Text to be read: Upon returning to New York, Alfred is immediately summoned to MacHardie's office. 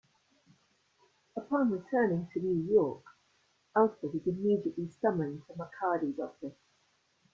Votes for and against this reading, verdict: 2, 0, accepted